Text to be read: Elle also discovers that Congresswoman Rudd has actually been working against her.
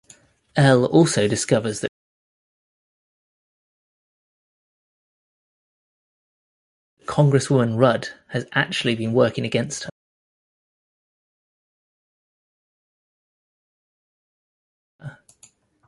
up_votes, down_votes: 0, 2